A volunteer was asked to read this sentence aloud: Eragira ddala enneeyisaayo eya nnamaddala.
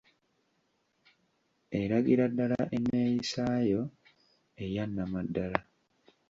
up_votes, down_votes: 2, 0